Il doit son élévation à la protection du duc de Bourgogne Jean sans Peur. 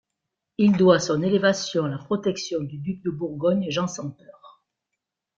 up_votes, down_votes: 2, 0